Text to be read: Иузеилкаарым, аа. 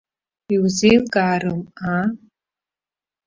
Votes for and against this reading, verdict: 0, 2, rejected